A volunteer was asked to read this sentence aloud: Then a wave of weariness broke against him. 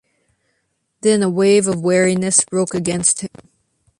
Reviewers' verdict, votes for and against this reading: accepted, 2, 0